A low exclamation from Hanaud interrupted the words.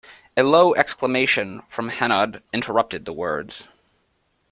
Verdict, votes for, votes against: accepted, 2, 0